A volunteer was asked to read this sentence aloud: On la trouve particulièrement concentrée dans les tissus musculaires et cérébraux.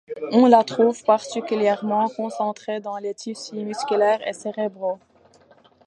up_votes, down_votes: 2, 0